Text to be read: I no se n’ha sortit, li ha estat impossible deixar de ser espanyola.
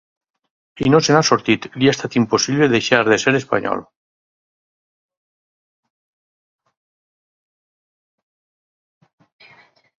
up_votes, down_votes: 0, 4